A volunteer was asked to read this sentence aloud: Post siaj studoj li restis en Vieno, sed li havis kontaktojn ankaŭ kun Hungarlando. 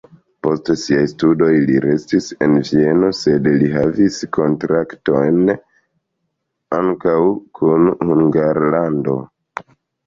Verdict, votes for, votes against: rejected, 1, 2